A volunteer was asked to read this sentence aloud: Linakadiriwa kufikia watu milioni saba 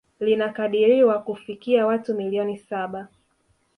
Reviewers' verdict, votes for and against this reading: accepted, 4, 0